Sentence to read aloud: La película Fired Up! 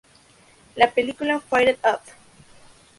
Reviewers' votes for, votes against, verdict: 4, 0, accepted